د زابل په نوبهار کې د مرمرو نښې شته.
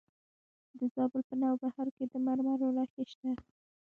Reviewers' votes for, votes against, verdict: 0, 2, rejected